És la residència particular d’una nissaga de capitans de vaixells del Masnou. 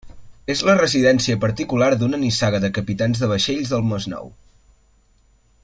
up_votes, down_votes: 3, 0